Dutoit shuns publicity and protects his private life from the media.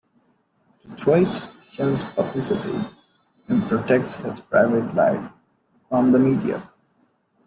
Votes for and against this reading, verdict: 1, 2, rejected